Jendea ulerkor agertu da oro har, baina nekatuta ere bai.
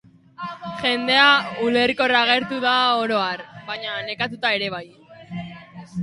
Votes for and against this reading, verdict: 0, 3, rejected